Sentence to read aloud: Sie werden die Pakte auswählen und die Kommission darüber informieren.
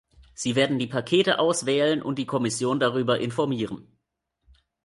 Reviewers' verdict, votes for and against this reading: rejected, 0, 2